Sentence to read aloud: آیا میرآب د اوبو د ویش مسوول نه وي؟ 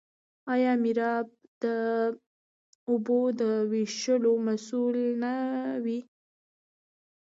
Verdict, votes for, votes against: accepted, 2, 0